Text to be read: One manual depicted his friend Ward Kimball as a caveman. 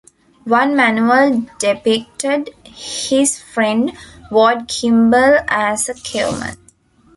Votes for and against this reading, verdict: 0, 2, rejected